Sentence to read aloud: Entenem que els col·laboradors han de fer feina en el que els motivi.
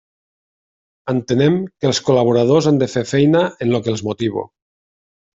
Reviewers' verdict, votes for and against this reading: rejected, 0, 2